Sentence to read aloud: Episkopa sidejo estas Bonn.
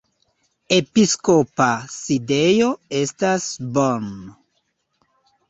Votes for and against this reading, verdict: 3, 4, rejected